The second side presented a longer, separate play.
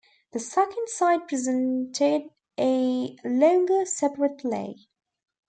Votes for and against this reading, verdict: 1, 2, rejected